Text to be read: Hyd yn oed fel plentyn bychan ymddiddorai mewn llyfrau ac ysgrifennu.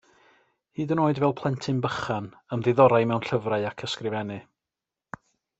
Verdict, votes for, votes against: accepted, 2, 0